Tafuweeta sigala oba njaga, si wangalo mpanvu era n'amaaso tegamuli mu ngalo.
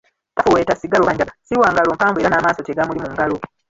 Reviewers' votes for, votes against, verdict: 0, 2, rejected